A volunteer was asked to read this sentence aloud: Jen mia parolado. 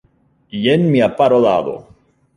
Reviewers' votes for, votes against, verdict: 2, 0, accepted